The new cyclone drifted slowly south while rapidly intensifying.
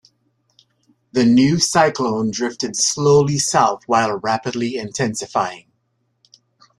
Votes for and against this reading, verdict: 2, 0, accepted